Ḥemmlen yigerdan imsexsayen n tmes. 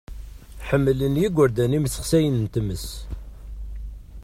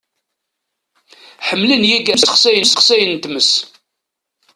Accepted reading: first